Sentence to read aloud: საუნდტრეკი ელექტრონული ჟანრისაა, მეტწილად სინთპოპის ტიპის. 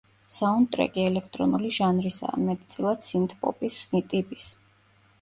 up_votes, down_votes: 1, 2